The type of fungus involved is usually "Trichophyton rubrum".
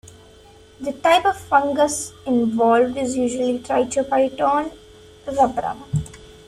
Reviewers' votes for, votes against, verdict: 2, 1, accepted